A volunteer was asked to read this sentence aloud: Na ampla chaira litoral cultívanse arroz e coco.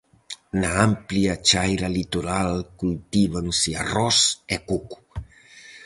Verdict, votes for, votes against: rejected, 2, 2